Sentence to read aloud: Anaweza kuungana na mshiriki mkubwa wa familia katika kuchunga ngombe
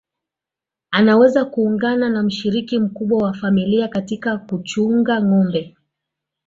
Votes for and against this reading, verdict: 2, 1, accepted